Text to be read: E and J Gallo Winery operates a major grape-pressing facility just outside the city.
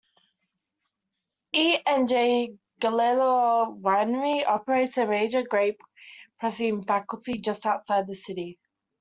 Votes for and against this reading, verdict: 0, 2, rejected